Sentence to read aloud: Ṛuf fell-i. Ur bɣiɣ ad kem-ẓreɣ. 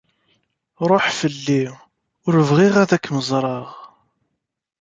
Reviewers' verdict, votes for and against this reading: rejected, 1, 2